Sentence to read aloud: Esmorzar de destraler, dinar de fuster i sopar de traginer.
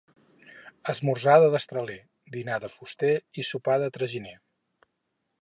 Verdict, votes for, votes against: accepted, 6, 0